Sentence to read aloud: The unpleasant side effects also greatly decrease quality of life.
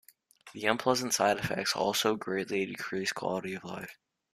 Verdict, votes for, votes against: rejected, 1, 2